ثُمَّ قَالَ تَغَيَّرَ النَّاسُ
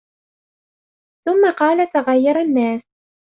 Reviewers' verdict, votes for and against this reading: accepted, 3, 0